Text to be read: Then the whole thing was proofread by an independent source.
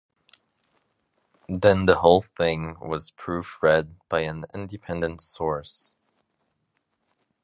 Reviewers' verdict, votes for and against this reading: accepted, 2, 0